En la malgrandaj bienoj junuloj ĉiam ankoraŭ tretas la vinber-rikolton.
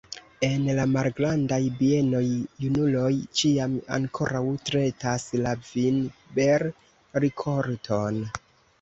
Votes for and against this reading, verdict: 1, 2, rejected